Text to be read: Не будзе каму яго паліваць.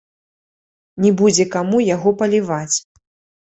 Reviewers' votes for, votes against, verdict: 1, 2, rejected